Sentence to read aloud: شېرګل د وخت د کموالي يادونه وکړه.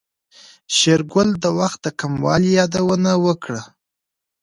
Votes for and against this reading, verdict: 1, 2, rejected